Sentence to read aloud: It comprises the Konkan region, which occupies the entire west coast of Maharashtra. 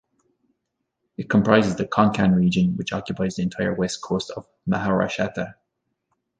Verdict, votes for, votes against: rejected, 0, 2